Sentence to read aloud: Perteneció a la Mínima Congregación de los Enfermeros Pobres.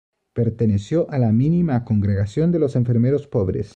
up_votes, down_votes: 2, 0